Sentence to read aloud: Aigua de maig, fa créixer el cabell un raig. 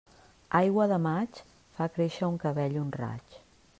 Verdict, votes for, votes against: accepted, 2, 1